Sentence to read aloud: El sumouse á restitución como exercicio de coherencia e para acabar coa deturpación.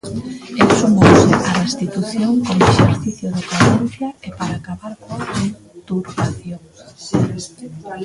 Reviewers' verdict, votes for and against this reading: rejected, 0, 2